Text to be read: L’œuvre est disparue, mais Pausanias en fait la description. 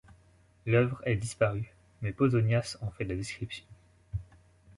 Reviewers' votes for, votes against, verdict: 1, 2, rejected